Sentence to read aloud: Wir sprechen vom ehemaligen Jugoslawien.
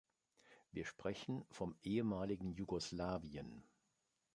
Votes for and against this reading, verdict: 2, 0, accepted